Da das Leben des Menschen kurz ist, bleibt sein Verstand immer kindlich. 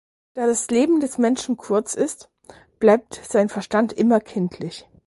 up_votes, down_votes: 4, 2